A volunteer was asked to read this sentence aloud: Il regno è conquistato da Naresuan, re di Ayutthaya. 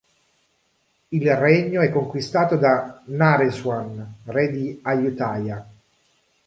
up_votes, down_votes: 2, 0